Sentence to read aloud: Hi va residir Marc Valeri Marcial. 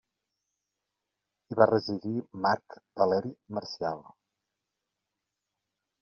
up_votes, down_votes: 2, 0